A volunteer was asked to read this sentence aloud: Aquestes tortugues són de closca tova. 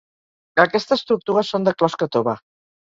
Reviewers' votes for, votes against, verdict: 4, 0, accepted